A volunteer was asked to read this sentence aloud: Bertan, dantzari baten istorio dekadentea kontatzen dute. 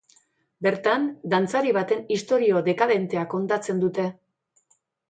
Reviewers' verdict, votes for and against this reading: accepted, 2, 0